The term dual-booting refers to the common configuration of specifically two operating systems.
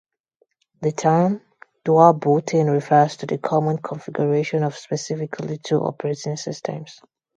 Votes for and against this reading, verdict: 0, 2, rejected